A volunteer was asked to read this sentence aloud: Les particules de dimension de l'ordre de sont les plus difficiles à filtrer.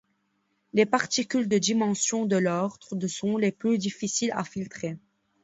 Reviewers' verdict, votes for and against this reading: accepted, 2, 0